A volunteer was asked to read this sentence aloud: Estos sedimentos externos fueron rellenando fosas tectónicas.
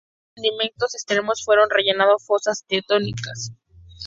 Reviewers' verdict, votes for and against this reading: rejected, 0, 4